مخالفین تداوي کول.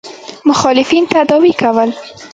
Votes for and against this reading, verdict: 1, 2, rejected